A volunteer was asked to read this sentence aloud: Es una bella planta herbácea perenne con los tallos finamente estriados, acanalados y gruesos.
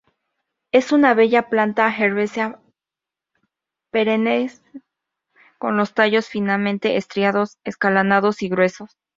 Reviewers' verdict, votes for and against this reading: accepted, 4, 0